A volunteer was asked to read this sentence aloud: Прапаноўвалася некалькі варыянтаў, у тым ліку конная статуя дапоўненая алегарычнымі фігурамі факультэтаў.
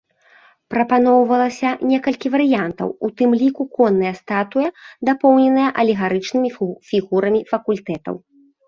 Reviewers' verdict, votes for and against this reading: rejected, 0, 2